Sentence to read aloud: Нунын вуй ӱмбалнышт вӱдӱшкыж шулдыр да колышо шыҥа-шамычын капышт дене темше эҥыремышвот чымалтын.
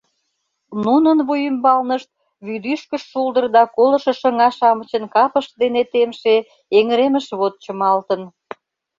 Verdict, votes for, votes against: accepted, 2, 0